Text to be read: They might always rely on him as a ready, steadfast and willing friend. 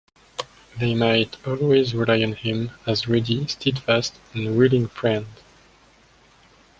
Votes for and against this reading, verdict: 1, 2, rejected